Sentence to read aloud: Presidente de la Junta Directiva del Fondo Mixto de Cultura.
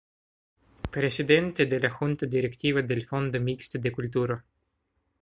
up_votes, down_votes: 2, 0